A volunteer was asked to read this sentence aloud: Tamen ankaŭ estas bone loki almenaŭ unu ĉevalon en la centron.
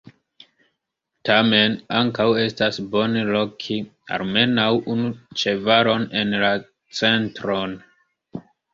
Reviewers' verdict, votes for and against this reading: accepted, 2, 1